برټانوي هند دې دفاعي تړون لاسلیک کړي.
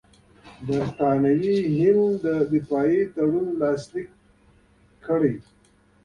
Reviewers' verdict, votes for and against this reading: accepted, 2, 0